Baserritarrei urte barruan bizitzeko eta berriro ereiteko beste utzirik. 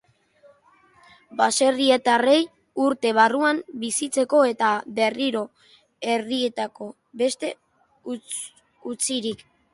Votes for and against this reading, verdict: 0, 2, rejected